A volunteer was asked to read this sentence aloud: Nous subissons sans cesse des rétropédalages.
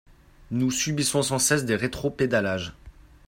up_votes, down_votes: 2, 0